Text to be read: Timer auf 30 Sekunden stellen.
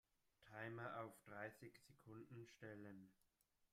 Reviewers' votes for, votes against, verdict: 0, 2, rejected